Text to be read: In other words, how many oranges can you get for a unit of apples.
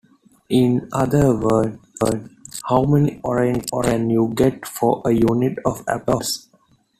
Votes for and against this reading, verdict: 1, 2, rejected